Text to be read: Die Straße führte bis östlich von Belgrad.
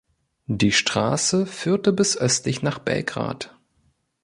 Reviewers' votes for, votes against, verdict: 0, 2, rejected